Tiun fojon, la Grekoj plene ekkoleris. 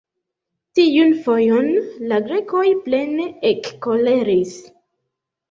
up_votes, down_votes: 1, 2